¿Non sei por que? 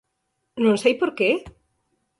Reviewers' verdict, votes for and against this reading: rejected, 0, 4